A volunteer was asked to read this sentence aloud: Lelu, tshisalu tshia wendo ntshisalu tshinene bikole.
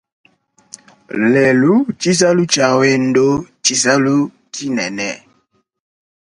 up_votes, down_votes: 3, 2